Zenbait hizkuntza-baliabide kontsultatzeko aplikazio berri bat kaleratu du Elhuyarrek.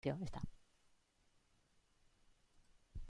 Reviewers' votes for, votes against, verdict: 0, 2, rejected